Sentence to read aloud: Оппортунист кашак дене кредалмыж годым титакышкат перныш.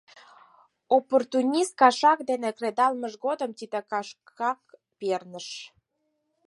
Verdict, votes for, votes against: rejected, 0, 4